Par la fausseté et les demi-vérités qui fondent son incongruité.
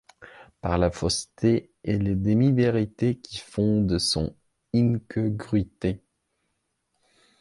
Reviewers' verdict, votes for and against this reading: rejected, 0, 2